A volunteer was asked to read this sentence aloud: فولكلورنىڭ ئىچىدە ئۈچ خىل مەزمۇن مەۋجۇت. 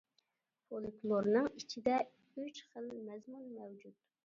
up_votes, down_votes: 0, 2